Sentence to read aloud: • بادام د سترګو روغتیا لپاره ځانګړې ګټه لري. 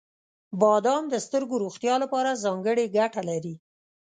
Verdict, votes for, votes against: accepted, 2, 0